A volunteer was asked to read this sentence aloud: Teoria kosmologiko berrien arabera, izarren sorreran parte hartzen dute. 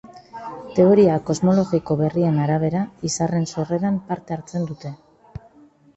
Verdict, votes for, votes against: rejected, 0, 2